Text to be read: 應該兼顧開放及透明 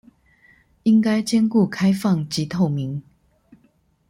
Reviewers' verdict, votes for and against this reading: accepted, 2, 0